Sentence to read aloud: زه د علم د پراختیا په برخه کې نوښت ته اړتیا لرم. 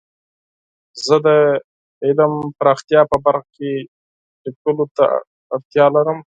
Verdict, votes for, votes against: rejected, 2, 4